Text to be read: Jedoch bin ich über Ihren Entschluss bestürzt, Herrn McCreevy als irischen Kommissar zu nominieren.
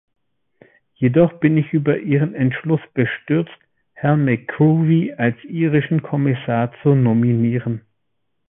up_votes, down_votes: 0, 2